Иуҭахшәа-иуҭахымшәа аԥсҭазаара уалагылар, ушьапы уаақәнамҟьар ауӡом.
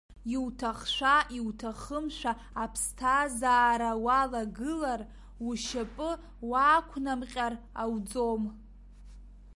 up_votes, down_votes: 2, 1